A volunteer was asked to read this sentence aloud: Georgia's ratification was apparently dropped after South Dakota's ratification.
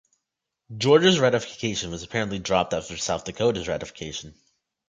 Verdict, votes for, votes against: accepted, 2, 0